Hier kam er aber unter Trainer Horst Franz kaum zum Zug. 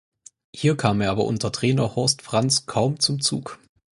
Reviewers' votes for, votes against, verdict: 4, 0, accepted